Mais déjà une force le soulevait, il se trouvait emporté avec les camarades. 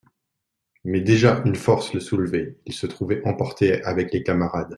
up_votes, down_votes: 2, 0